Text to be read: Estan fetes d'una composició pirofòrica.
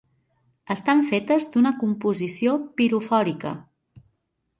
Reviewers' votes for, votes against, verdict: 2, 0, accepted